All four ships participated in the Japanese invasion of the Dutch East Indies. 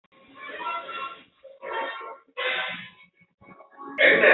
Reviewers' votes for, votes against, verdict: 0, 2, rejected